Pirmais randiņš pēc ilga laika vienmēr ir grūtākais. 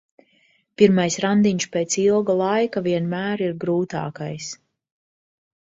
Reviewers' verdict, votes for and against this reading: accepted, 2, 0